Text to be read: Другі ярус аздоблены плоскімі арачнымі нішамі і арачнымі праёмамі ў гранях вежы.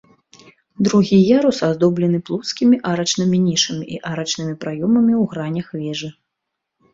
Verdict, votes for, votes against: accepted, 2, 0